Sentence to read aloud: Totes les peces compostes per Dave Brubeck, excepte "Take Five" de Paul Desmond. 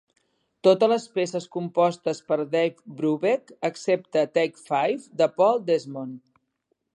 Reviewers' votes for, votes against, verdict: 2, 0, accepted